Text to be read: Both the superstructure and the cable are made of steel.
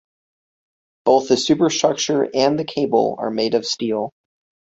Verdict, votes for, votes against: accepted, 2, 0